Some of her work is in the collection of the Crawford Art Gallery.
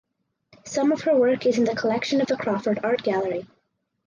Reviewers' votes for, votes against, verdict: 2, 2, rejected